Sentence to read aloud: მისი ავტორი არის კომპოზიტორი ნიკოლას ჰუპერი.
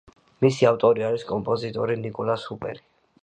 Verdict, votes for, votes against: rejected, 0, 2